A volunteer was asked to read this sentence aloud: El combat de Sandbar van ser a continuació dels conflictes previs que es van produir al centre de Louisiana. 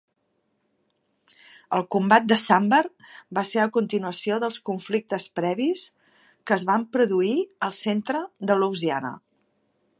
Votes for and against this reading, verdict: 2, 0, accepted